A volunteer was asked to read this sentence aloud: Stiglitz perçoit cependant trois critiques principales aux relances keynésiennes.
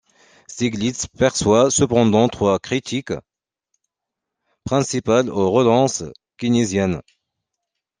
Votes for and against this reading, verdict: 2, 0, accepted